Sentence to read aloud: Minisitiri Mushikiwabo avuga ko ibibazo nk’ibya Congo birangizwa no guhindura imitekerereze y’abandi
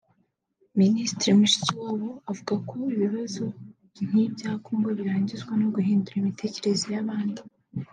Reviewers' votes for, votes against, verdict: 3, 0, accepted